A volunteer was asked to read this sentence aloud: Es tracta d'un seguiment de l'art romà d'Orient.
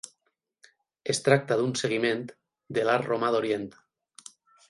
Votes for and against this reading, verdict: 12, 0, accepted